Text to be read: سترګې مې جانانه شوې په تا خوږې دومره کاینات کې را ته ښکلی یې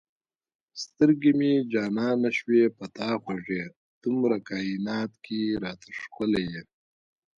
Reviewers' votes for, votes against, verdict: 0, 2, rejected